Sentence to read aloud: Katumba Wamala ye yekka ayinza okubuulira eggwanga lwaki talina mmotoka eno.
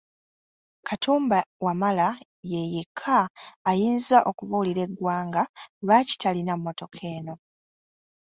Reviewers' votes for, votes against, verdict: 2, 0, accepted